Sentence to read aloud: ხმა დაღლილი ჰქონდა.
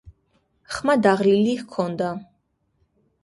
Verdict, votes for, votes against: accepted, 2, 0